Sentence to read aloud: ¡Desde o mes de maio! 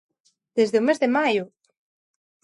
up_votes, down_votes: 2, 0